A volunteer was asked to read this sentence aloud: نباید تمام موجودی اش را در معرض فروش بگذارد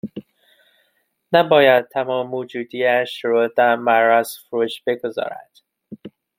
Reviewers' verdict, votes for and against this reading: rejected, 1, 2